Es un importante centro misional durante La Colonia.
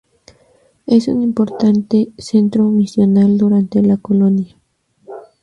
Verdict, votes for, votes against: accepted, 2, 0